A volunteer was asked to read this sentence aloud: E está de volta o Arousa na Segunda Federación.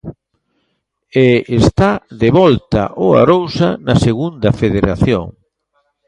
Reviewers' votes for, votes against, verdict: 2, 0, accepted